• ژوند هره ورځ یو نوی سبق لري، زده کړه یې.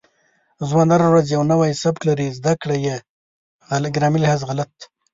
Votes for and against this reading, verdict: 0, 2, rejected